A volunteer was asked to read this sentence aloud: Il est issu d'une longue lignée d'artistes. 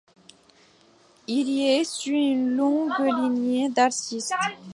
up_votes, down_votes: 2, 1